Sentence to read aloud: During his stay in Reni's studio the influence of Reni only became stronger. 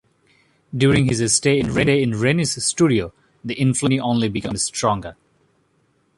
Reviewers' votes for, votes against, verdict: 0, 2, rejected